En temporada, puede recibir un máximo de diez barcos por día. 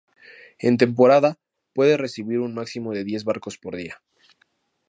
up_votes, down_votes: 2, 0